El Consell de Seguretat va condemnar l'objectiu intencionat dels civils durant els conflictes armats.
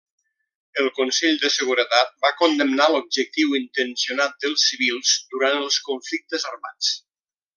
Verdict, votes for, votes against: accepted, 3, 0